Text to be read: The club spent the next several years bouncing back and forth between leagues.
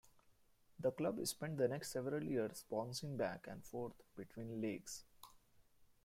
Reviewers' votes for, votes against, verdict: 1, 2, rejected